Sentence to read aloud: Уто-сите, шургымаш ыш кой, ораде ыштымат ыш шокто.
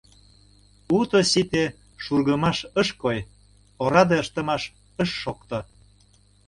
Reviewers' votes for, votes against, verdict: 1, 2, rejected